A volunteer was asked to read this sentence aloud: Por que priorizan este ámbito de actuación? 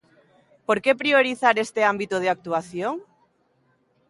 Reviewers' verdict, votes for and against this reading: rejected, 0, 3